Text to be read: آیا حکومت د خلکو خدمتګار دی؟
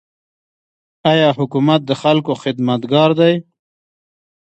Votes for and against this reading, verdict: 0, 2, rejected